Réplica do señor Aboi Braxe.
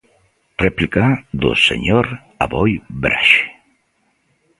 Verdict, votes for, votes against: accepted, 2, 0